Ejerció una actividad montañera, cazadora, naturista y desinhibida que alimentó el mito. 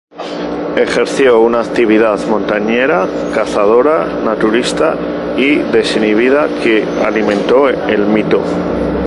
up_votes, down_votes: 0, 2